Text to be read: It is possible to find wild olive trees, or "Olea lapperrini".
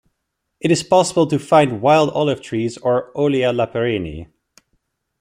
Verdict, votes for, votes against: accepted, 2, 0